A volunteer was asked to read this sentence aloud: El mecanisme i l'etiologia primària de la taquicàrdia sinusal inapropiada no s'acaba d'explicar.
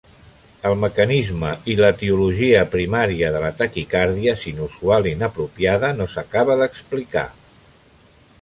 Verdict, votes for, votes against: rejected, 1, 2